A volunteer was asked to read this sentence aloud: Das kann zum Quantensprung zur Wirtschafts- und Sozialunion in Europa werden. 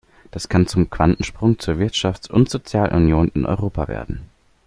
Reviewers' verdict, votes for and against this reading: accepted, 2, 0